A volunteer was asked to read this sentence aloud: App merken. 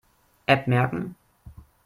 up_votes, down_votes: 2, 0